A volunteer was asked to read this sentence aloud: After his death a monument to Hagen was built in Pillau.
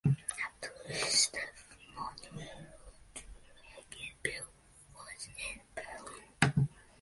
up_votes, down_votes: 0, 2